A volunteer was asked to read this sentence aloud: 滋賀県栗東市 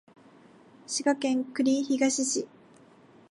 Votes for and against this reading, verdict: 3, 4, rejected